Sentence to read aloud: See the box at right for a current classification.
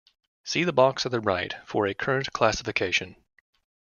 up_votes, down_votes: 1, 2